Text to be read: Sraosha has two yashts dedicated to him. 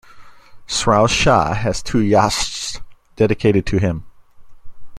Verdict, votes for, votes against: accepted, 2, 0